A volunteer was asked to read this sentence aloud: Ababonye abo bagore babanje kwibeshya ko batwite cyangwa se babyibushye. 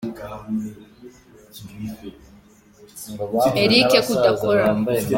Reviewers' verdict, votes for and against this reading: rejected, 0, 2